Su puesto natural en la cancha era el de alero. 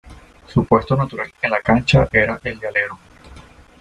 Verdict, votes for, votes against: rejected, 1, 2